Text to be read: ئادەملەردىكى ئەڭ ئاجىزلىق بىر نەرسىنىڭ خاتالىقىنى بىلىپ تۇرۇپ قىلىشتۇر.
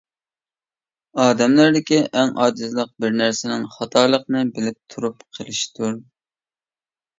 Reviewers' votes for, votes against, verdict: 2, 0, accepted